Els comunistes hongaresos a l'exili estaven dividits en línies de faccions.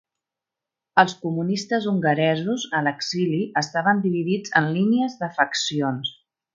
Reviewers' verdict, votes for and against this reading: accepted, 3, 0